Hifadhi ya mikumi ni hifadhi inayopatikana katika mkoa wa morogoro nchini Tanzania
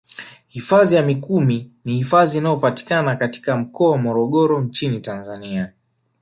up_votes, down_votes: 2, 0